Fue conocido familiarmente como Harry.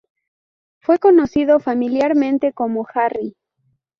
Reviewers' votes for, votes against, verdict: 2, 0, accepted